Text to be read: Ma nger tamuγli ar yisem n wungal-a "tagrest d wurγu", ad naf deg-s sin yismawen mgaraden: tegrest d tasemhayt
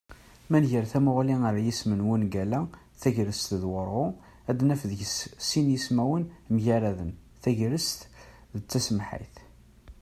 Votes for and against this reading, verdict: 1, 2, rejected